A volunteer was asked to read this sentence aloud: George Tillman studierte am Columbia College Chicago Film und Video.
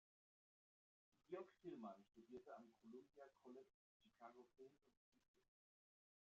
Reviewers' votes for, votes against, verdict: 0, 2, rejected